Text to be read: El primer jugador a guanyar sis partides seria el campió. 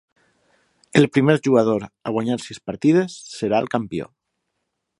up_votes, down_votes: 3, 3